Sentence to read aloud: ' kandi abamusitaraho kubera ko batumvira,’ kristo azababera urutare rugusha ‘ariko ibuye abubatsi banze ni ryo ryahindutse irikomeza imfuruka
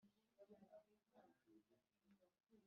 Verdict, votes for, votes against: rejected, 0, 2